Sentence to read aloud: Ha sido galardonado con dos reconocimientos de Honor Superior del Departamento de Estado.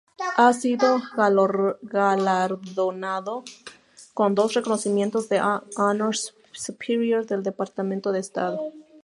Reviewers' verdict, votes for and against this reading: rejected, 0, 2